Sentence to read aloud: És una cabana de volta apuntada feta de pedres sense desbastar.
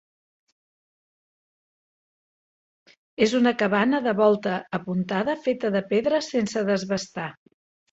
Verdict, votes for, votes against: accepted, 4, 1